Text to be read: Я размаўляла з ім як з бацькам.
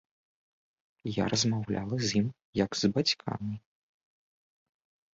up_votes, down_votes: 0, 2